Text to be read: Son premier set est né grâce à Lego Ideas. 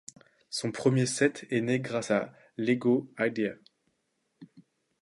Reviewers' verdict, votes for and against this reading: accepted, 2, 1